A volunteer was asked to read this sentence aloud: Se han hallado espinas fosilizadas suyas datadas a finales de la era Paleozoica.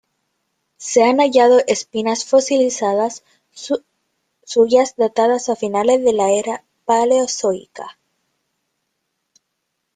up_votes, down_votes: 0, 2